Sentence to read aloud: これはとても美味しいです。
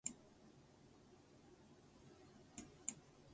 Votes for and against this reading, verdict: 0, 2, rejected